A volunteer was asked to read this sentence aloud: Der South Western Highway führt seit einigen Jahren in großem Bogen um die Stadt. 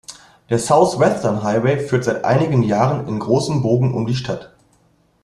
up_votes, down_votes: 2, 0